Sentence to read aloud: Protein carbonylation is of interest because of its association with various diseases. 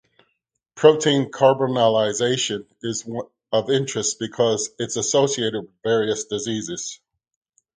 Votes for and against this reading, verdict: 0, 2, rejected